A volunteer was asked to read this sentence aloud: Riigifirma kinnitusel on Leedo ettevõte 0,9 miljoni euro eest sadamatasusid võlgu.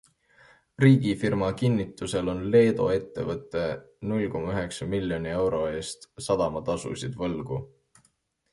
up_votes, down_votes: 0, 2